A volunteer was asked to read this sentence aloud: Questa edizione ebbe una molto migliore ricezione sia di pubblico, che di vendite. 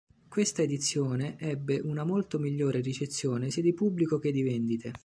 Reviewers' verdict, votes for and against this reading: accepted, 2, 0